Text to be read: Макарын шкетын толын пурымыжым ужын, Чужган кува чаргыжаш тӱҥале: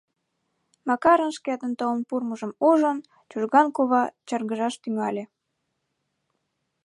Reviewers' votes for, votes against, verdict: 1, 2, rejected